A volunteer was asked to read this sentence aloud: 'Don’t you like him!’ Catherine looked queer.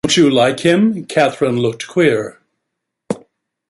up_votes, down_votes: 1, 2